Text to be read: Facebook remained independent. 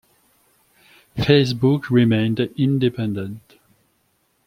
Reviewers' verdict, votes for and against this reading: accepted, 2, 0